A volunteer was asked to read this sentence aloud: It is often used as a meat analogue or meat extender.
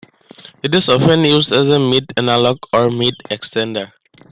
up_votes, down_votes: 2, 0